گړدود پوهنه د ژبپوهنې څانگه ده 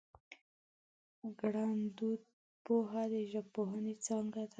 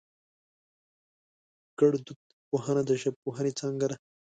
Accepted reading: second